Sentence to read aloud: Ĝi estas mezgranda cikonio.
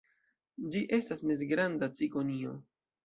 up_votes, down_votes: 0, 2